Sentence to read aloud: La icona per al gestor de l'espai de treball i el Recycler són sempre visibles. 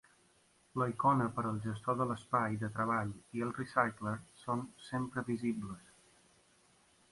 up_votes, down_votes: 2, 0